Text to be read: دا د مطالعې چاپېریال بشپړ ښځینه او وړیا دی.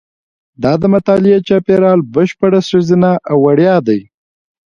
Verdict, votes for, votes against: rejected, 1, 2